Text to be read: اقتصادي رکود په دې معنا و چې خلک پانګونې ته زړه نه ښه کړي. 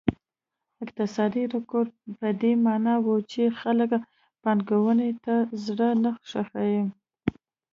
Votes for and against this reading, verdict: 2, 1, accepted